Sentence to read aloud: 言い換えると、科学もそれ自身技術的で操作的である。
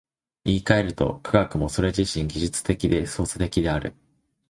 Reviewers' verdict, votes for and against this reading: accepted, 2, 0